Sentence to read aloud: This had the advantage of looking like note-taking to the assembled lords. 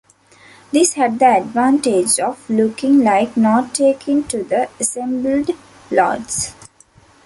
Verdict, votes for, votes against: rejected, 1, 2